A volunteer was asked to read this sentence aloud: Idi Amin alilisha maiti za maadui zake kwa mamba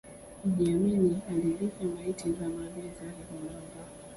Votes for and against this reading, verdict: 0, 2, rejected